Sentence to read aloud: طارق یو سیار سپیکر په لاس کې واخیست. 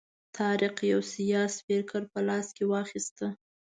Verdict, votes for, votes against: accepted, 2, 0